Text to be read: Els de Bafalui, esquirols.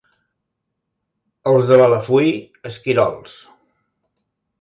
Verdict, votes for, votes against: rejected, 1, 2